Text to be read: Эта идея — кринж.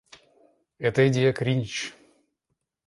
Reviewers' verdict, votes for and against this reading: accepted, 2, 0